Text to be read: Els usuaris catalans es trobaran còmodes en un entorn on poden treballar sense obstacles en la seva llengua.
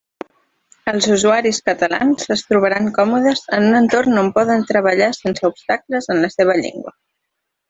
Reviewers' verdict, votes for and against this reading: accepted, 3, 0